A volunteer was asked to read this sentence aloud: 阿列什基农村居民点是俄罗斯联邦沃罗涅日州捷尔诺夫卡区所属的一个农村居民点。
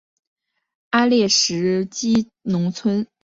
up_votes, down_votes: 0, 2